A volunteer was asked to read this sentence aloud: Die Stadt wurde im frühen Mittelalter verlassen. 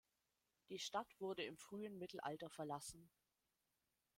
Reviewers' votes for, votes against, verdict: 2, 0, accepted